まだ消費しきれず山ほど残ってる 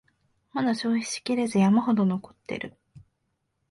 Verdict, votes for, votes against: accepted, 2, 0